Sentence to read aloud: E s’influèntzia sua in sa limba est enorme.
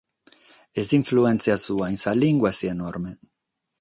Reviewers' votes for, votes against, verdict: 3, 3, rejected